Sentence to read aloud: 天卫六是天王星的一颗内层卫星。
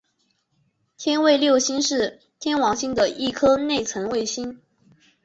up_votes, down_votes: 3, 4